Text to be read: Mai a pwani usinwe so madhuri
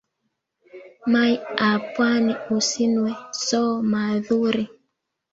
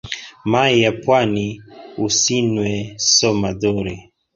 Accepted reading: second